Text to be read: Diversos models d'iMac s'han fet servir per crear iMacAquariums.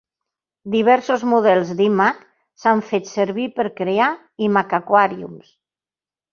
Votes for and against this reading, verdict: 2, 0, accepted